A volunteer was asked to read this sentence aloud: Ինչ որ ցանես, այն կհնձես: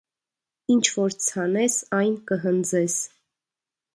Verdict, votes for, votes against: accepted, 2, 0